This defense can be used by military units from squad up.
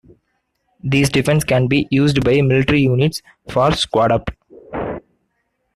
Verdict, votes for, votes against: rejected, 0, 2